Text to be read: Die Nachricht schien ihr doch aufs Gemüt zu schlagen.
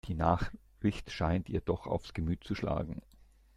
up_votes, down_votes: 1, 2